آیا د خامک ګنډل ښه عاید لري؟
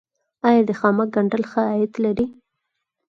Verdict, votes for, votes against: accepted, 6, 0